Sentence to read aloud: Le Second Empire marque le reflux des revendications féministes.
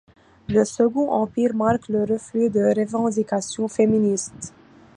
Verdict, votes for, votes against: accepted, 2, 0